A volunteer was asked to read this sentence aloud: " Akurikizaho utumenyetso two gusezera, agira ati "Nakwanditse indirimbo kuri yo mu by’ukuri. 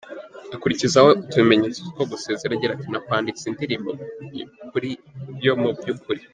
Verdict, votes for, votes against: rejected, 0, 3